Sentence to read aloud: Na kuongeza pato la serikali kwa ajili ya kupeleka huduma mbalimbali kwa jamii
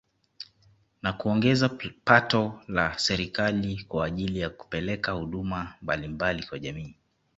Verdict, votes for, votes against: accepted, 2, 0